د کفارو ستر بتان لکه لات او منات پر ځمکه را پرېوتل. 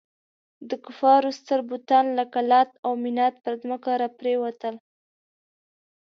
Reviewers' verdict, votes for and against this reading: accepted, 2, 0